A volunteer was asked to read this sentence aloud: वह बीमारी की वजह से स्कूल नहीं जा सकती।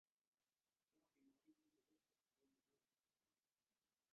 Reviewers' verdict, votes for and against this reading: rejected, 0, 2